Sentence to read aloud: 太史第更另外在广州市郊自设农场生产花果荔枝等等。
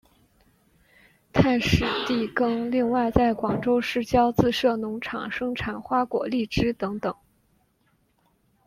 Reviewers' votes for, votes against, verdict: 2, 0, accepted